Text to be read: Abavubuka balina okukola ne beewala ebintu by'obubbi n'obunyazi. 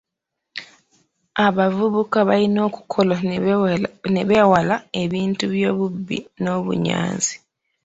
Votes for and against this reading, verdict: 1, 2, rejected